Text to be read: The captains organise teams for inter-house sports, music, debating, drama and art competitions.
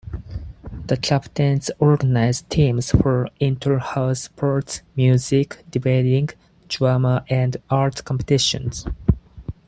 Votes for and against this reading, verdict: 4, 0, accepted